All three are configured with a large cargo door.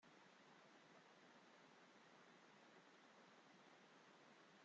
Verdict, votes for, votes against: rejected, 0, 2